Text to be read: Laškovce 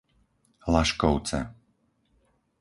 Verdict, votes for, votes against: accepted, 4, 0